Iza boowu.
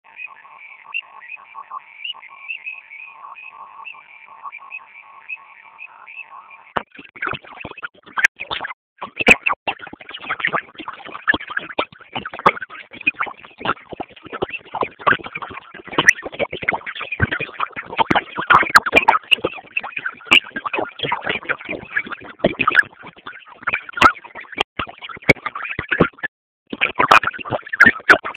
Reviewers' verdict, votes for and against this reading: rejected, 0, 2